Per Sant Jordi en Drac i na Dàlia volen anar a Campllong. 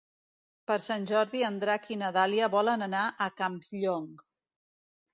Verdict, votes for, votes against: accepted, 2, 0